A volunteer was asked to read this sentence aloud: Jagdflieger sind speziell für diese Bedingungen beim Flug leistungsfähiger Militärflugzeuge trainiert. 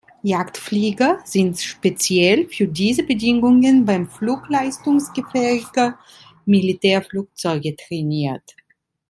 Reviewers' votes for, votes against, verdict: 1, 2, rejected